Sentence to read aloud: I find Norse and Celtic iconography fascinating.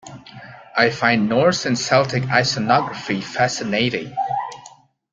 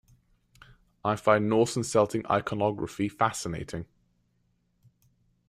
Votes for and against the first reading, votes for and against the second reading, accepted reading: 1, 2, 2, 0, second